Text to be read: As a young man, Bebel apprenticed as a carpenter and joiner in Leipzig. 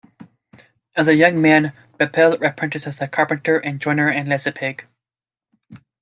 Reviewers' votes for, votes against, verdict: 1, 2, rejected